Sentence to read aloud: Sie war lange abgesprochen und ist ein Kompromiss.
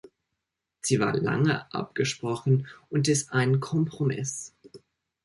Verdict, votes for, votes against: accepted, 2, 0